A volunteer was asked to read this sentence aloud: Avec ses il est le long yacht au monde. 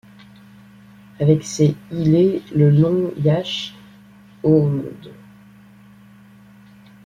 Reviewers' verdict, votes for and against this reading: rejected, 1, 2